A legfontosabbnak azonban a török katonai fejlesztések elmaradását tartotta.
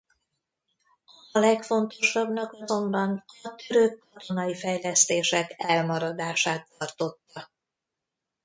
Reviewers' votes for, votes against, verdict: 1, 2, rejected